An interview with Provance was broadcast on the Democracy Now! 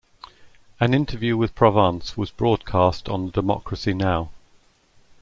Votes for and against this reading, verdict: 2, 0, accepted